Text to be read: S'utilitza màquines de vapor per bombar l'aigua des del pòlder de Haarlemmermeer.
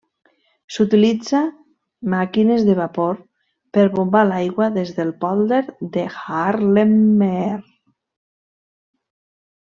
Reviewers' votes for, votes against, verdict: 0, 2, rejected